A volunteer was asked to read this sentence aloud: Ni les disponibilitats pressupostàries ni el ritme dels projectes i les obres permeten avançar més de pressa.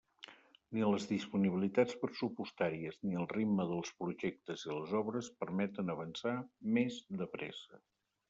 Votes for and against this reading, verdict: 1, 2, rejected